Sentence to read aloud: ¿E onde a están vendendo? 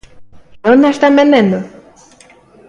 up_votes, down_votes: 2, 1